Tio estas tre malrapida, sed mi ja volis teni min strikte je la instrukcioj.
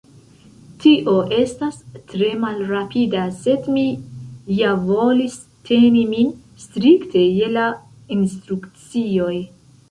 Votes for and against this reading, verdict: 0, 2, rejected